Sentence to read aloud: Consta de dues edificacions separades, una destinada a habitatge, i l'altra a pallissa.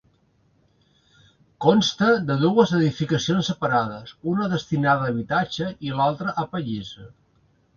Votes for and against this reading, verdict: 2, 0, accepted